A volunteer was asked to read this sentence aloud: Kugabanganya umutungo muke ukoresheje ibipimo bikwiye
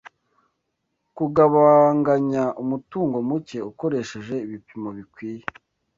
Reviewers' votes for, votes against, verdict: 2, 0, accepted